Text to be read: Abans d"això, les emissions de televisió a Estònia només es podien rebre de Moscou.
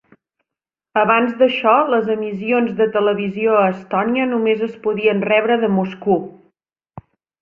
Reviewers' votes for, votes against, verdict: 1, 2, rejected